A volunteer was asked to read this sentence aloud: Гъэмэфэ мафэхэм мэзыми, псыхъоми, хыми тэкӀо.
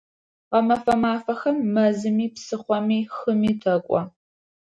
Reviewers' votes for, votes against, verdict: 2, 0, accepted